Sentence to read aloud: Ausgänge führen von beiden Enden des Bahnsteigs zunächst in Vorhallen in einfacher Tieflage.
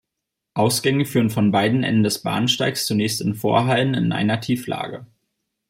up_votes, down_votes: 0, 2